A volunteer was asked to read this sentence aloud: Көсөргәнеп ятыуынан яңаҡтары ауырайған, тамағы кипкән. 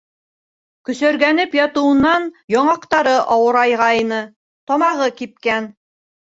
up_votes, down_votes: 2, 3